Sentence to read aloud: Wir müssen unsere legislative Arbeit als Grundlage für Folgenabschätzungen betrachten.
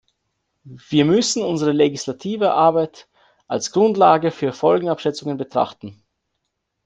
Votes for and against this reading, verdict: 2, 0, accepted